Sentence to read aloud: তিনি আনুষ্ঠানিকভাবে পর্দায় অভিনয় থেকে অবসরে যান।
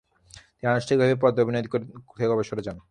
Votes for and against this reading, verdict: 0, 3, rejected